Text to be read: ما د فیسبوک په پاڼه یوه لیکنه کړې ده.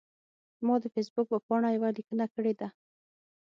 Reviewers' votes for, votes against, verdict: 3, 6, rejected